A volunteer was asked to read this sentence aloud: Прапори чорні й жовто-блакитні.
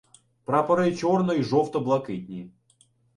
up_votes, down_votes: 0, 2